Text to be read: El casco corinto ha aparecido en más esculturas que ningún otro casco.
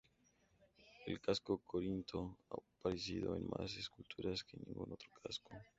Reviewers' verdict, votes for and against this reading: accepted, 2, 0